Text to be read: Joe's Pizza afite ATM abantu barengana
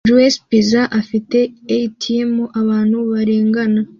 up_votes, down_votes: 2, 0